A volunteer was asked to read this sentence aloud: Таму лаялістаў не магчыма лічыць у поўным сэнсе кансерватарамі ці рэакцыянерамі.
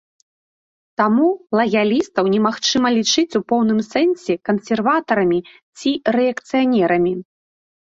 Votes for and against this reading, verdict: 2, 0, accepted